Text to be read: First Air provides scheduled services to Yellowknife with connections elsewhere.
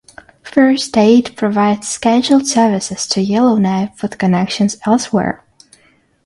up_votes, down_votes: 0, 6